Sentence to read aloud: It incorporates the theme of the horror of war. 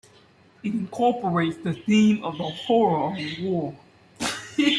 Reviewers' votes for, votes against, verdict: 1, 2, rejected